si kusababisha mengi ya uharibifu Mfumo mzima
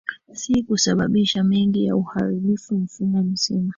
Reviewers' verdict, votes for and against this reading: rejected, 1, 2